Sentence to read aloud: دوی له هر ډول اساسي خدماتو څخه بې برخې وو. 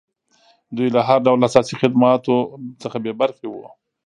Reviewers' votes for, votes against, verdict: 0, 2, rejected